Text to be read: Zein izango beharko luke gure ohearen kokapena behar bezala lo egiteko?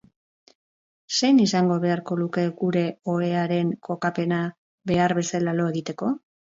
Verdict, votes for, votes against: rejected, 0, 2